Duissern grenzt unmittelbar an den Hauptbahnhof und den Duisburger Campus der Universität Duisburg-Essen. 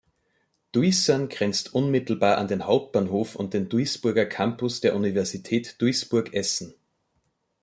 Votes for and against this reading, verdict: 1, 2, rejected